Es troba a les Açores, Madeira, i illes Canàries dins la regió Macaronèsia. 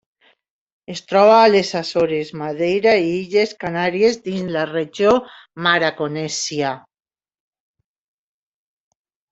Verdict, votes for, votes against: rejected, 0, 2